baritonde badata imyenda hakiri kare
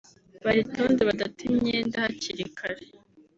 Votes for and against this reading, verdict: 3, 0, accepted